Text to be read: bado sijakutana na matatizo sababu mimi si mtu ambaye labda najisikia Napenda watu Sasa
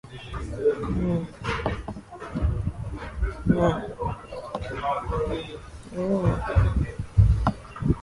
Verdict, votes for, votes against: rejected, 1, 9